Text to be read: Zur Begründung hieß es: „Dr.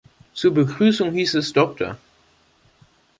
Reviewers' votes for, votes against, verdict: 3, 1, accepted